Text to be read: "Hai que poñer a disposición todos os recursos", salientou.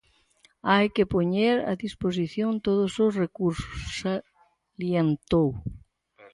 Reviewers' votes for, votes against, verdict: 2, 4, rejected